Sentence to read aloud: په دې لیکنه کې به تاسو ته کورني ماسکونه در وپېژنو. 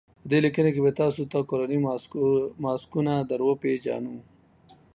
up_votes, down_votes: 1, 2